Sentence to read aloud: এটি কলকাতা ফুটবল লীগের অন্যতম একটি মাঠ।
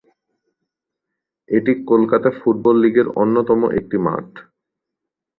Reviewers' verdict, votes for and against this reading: accepted, 16, 0